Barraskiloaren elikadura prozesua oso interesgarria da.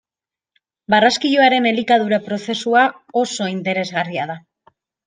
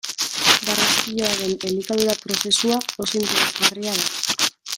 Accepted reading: first